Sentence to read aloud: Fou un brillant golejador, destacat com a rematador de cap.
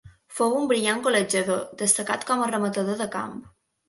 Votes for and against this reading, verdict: 0, 3, rejected